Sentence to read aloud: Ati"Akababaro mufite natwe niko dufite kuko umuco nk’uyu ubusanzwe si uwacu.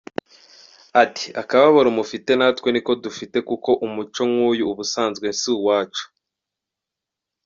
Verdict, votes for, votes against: accepted, 2, 0